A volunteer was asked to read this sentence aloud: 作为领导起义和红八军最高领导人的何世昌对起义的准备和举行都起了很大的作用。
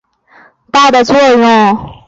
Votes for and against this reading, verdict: 0, 2, rejected